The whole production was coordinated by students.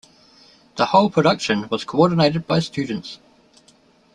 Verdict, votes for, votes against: accepted, 2, 0